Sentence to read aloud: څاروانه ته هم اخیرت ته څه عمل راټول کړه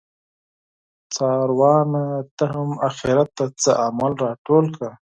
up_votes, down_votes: 4, 0